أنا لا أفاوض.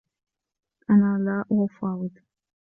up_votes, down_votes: 2, 0